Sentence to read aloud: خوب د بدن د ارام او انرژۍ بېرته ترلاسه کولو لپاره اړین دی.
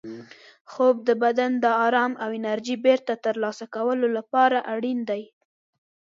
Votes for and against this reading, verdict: 2, 0, accepted